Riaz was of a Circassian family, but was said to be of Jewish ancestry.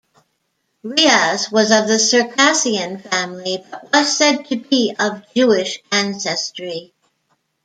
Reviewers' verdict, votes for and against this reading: rejected, 1, 2